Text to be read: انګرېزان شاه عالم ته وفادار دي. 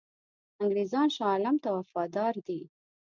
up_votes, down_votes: 2, 0